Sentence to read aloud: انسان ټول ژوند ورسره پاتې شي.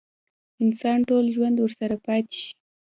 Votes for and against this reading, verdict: 2, 0, accepted